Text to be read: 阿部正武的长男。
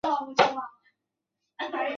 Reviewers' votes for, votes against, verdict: 1, 2, rejected